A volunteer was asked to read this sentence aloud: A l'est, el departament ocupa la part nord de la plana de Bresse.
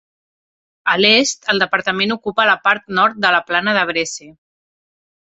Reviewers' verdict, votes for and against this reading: accepted, 3, 0